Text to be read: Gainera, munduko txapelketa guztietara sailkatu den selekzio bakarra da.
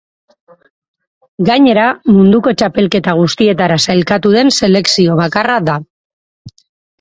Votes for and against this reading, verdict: 2, 2, rejected